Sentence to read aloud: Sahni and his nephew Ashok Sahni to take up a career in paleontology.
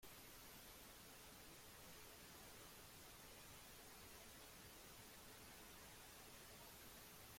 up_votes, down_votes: 0, 2